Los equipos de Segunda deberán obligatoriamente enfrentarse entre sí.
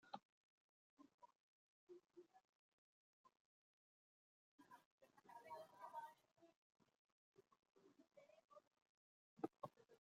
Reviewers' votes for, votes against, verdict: 0, 2, rejected